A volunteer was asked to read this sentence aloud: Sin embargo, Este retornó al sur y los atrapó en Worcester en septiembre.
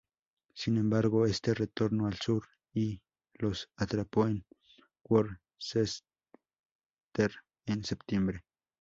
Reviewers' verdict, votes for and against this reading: accepted, 2, 0